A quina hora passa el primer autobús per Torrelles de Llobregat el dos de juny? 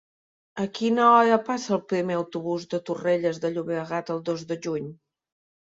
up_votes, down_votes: 1, 2